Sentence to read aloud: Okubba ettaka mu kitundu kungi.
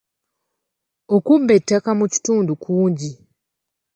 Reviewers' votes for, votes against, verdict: 0, 2, rejected